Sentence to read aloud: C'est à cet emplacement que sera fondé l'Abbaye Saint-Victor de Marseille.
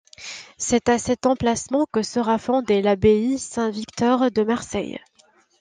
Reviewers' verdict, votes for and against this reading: accepted, 2, 0